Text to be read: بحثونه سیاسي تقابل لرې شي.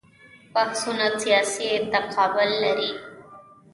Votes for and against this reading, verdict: 1, 2, rejected